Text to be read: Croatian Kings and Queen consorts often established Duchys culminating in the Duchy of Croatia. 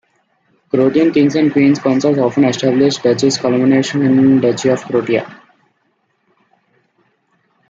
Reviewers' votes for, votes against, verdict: 0, 2, rejected